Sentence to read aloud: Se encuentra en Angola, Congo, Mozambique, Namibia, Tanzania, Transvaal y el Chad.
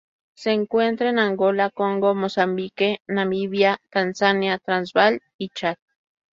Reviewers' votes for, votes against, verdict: 2, 0, accepted